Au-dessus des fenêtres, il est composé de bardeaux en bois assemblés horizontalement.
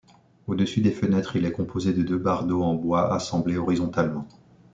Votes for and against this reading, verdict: 0, 2, rejected